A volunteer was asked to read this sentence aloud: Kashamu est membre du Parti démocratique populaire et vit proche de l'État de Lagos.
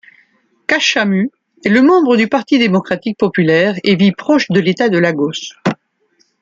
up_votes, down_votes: 0, 2